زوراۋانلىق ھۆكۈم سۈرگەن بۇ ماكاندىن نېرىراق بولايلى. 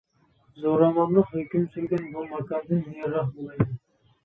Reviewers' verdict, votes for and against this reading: rejected, 1, 2